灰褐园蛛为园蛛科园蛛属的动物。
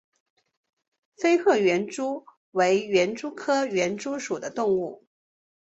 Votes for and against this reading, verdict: 0, 2, rejected